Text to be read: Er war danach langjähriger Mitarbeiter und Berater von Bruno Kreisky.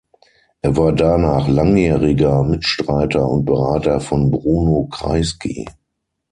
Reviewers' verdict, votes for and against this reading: rejected, 0, 6